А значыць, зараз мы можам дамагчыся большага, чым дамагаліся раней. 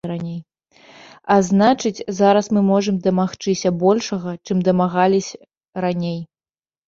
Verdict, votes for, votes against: rejected, 0, 2